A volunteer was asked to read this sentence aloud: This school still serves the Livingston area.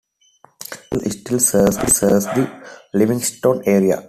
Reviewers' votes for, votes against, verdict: 1, 2, rejected